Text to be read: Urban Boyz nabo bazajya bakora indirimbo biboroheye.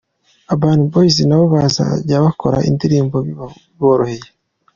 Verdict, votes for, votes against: accepted, 2, 0